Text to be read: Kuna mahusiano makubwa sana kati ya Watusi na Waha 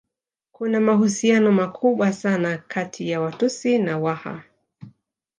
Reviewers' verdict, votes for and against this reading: accepted, 2, 0